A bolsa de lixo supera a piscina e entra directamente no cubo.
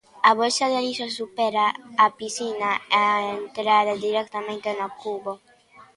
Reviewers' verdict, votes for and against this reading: rejected, 0, 2